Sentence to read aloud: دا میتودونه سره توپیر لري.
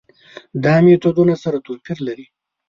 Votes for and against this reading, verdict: 3, 0, accepted